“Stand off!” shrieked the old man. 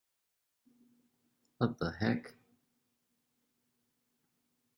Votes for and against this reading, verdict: 0, 2, rejected